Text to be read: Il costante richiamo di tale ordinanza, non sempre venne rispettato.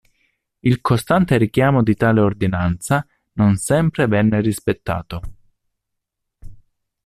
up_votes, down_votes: 2, 0